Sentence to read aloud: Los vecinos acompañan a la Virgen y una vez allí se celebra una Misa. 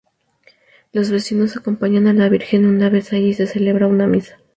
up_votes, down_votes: 2, 0